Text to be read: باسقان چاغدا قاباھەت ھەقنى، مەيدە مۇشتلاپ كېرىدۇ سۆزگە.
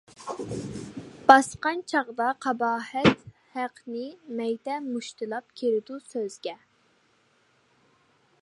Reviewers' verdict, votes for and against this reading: accepted, 2, 0